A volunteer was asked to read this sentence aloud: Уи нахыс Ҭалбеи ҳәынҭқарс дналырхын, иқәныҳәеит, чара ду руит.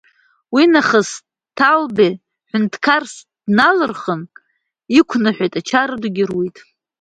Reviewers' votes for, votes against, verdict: 0, 2, rejected